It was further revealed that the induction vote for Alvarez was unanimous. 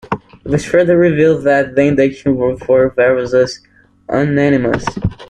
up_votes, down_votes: 1, 2